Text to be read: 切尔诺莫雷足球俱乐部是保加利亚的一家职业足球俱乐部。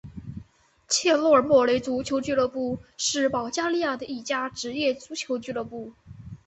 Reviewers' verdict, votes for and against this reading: accepted, 2, 1